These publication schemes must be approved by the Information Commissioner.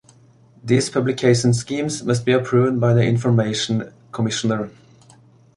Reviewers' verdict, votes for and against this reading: accepted, 2, 0